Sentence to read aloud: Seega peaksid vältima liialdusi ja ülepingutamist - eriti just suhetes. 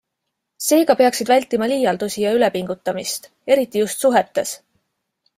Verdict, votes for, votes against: accepted, 2, 0